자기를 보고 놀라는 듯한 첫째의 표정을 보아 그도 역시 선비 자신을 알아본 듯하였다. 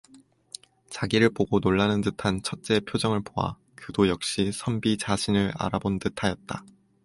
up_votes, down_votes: 2, 0